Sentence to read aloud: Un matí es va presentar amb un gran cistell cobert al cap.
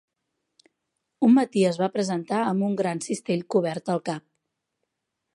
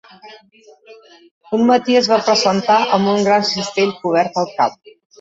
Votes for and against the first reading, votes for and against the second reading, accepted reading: 3, 0, 0, 2, first